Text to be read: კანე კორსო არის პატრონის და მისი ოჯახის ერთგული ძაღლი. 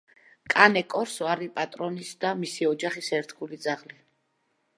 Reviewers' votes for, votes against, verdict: 2, 0, accepted